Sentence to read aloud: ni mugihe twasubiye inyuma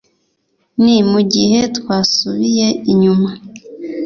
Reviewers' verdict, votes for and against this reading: accepted, 2, 0